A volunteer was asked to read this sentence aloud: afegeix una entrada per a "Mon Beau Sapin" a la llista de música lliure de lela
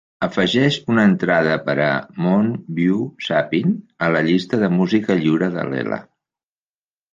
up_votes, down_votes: 2, 0